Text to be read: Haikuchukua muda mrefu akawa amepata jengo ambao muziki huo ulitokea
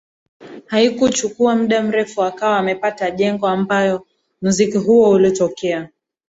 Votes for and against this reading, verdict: 1, 2, rejected